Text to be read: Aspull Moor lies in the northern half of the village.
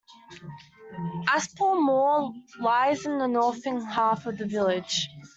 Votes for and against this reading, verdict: 2, 0, accepted